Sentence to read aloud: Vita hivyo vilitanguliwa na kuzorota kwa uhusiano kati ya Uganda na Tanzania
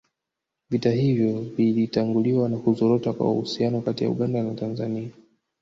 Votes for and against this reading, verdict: 3, 0, accepted